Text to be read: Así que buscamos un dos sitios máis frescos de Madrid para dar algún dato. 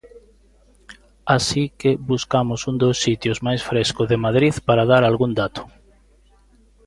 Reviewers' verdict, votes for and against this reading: rejected, 0, 2